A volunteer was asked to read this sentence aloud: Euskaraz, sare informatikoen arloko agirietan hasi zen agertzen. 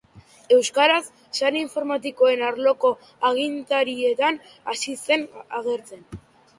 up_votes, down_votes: 0, 2